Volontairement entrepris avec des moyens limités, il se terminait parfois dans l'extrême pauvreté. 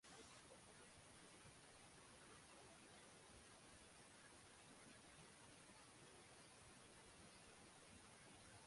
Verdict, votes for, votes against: rejected, 0, 2